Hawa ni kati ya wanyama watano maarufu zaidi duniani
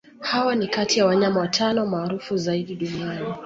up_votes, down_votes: 2, 0